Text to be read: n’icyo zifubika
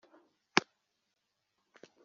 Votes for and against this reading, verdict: 1, 3, rejected